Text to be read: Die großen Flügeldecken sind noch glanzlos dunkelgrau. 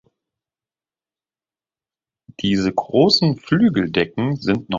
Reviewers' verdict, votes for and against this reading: rejected, 0, 2